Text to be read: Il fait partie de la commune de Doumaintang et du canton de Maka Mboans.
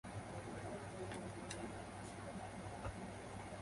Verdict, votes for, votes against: rejected, 0, 2